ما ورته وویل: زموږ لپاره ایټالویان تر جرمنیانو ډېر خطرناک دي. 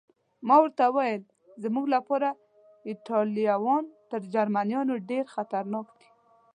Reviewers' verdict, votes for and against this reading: accepted, 2, 0